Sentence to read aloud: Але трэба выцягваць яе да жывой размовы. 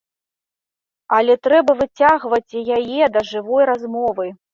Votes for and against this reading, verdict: 2, 0, accepted